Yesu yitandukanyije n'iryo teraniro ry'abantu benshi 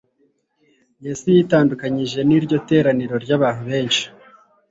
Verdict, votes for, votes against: rejected, 1, 2